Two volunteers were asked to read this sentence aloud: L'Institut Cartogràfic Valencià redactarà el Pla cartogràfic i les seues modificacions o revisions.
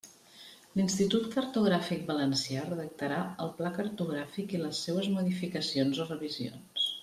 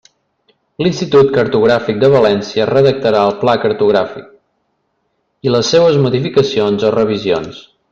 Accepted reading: first